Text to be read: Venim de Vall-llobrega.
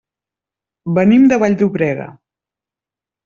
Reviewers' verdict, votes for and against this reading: accepted, 2, 0